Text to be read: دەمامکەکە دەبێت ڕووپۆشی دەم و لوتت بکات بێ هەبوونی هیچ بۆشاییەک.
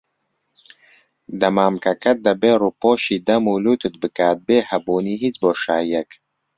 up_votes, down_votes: 2, 0